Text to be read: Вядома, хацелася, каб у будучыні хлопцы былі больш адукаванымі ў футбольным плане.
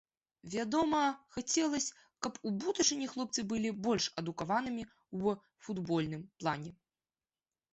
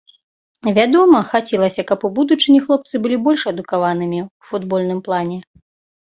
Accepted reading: second